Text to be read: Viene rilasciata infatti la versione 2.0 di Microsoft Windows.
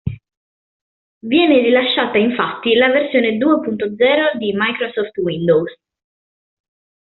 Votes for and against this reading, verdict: 0, 2, rejected